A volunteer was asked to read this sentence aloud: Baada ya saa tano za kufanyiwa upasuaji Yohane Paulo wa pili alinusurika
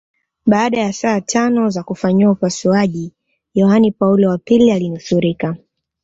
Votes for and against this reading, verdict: 2, 0, accepted